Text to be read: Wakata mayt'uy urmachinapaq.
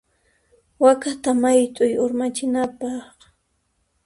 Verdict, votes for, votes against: accepted, 2, 0